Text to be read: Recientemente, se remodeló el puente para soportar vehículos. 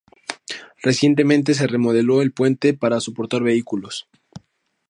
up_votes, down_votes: 2, 0